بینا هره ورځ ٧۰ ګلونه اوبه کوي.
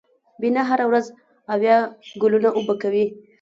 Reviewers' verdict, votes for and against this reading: rejected, 0, 2